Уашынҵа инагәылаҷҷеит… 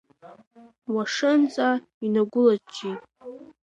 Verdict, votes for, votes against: rejected, 1, 2